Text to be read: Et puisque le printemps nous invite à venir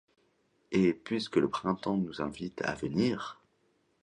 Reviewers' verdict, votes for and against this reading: accepted, 2, 0